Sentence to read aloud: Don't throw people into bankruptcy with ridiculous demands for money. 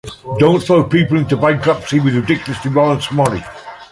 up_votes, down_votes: 2, 0